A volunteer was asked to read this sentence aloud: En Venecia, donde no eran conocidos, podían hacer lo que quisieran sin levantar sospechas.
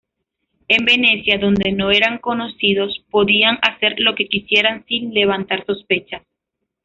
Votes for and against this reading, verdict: 1, 2, rejected